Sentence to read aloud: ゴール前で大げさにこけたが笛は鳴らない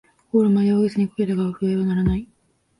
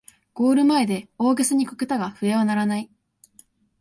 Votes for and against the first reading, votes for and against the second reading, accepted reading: 0, 2, 2, 0, second